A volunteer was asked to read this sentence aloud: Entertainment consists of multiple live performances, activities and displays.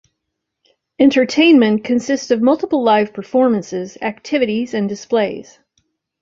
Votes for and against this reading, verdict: 2, 0, accepted